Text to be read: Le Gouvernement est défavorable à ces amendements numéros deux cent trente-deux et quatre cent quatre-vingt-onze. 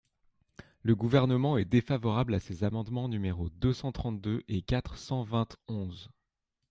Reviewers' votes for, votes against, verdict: 1, 2, rejected